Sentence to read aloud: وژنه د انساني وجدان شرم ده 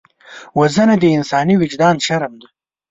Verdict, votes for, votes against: accepted, 2, 0